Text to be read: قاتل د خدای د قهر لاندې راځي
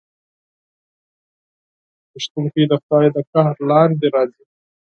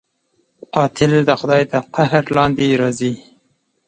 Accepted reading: second